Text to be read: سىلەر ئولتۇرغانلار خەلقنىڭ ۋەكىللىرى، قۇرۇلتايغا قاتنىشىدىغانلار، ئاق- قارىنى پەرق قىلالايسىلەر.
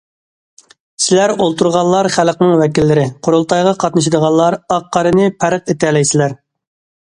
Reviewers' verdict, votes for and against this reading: rejected, 0, 2